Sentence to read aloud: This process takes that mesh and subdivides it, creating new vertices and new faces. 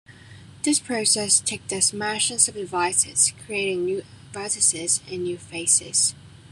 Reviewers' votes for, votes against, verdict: 0, 2, rejected